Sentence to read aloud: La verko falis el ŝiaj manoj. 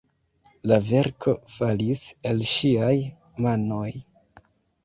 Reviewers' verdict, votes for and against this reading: accepted, 2, 0